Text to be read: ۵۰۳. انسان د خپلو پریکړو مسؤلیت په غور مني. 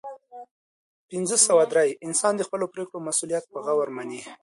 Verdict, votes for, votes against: rejected, 0, 2